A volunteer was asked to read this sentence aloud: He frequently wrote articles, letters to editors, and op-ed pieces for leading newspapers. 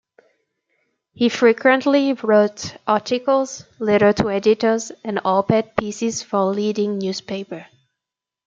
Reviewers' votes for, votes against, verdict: 1, 2, rejected